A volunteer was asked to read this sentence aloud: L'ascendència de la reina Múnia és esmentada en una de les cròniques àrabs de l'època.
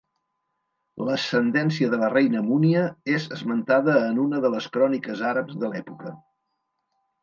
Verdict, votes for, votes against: accepted, 2, 0